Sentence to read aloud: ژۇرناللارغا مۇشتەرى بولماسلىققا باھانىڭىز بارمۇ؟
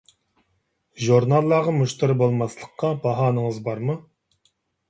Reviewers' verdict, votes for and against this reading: accepted, 2, 0